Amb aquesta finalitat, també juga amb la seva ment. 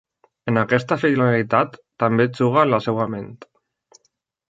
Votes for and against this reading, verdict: 1, 2, rejected